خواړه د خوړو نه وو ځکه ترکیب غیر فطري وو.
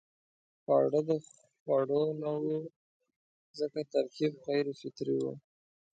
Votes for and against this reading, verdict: 1, 2, rejected